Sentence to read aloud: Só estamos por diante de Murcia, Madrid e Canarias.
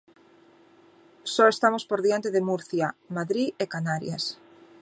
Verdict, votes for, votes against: accepted, 2, 0